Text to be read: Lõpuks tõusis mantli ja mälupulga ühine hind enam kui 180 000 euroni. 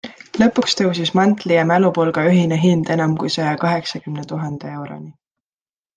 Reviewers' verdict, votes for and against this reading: rejected, 0, 2